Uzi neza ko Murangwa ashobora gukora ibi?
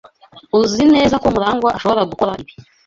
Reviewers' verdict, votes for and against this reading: accepted, 2, 0